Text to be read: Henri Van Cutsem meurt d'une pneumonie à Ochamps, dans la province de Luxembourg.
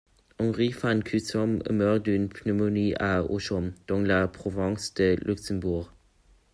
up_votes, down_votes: 2, 0